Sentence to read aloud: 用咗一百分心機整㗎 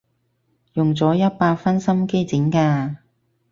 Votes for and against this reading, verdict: 4, 0, accepted